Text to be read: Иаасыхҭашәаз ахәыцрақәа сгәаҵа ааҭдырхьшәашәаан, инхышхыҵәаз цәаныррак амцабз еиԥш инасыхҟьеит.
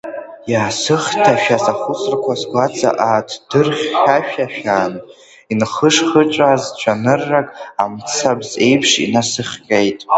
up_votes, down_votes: 1, 2